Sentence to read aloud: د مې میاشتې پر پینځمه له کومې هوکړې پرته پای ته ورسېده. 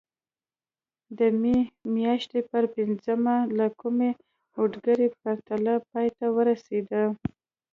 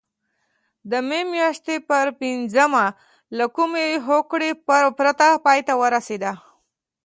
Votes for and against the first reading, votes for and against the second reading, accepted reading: 0, 2, 2, 0, second